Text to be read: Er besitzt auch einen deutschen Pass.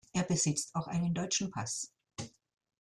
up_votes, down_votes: 2, 0